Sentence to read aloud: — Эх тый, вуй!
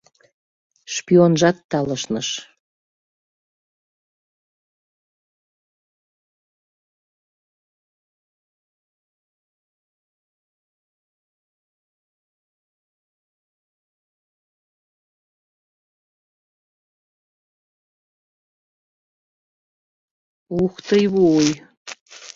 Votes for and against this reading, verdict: 0, 2, rejected